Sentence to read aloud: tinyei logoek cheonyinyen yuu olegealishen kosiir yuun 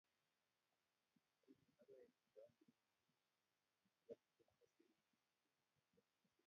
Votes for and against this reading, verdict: 0, 2, rejected